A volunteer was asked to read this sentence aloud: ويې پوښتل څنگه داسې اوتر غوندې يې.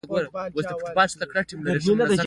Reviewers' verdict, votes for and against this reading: accepted, 2, 1